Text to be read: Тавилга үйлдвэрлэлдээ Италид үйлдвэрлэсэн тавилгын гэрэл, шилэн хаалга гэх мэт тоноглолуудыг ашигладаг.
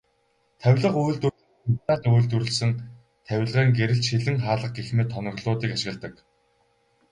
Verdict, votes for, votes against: accepted, 4, 0